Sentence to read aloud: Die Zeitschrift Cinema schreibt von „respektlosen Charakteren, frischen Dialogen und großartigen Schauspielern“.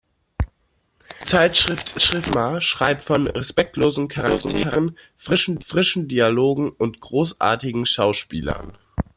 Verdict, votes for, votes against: rejected, 0, 2